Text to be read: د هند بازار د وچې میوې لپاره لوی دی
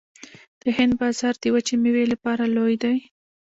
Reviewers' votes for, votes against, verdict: 2, 0, accepted